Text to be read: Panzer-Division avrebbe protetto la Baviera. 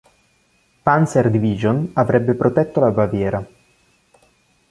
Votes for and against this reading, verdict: 2, 1, accepted